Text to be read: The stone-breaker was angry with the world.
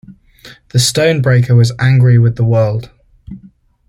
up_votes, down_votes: 2, 0